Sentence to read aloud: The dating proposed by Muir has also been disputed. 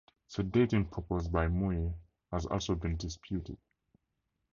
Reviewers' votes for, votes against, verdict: 4, 0, accepted